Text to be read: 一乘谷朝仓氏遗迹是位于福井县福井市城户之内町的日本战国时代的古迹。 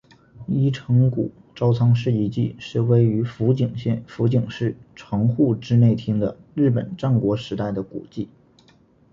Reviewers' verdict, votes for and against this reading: accepted, 2, 0